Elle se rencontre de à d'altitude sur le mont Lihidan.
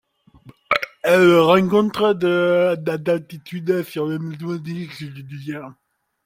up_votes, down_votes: 0, 2